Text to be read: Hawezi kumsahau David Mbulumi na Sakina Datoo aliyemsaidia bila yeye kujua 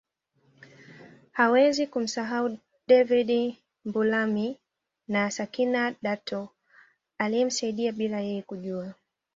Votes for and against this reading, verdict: 2, 0, accepted